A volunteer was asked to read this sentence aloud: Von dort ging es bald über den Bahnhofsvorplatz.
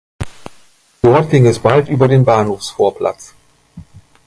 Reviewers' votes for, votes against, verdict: 0, 2, rejected